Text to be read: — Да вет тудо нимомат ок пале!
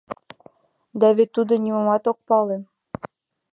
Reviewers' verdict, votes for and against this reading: accepted, 2, 0